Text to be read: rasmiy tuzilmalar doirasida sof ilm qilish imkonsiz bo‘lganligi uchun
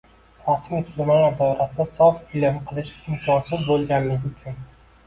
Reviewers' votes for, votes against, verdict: 0, 2, rejected